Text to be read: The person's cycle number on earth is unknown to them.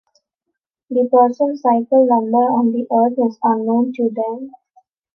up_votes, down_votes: 0, 2